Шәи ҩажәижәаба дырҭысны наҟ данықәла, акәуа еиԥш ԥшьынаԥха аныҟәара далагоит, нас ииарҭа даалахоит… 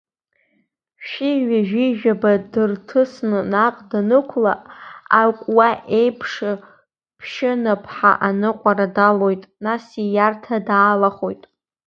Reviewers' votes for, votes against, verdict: 0, 2, rejected